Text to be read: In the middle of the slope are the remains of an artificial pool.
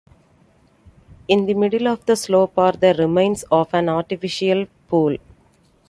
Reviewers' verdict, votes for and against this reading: accepted, 2, 0